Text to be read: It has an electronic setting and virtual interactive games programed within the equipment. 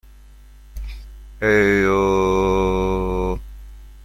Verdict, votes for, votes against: rejected, 0, 2